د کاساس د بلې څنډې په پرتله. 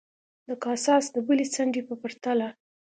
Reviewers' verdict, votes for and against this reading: accepted, 2, 0